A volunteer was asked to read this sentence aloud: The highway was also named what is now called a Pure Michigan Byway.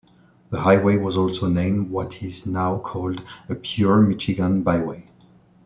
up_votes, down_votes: 1, 2